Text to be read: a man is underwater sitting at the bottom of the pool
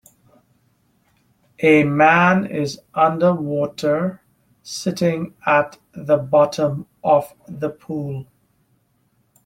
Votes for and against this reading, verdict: 2, 0, accepted